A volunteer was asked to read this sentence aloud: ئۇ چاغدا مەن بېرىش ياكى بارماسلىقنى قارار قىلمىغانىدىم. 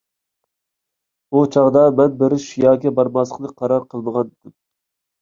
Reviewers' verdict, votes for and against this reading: rejected, 0, 2